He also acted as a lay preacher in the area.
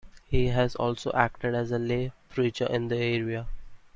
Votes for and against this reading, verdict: 0, 2, rejected